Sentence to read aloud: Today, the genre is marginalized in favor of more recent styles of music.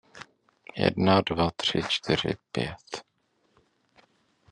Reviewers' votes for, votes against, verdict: 0, 2, rejected